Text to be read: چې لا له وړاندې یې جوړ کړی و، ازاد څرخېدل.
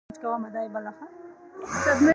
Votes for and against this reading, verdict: 2, 1, accepted